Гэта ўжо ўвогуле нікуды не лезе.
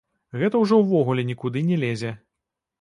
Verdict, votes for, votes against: rejected, 1, 2